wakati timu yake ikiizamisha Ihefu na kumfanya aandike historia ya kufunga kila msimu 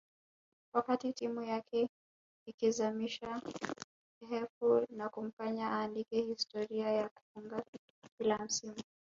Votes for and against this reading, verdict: 1, 2, rejected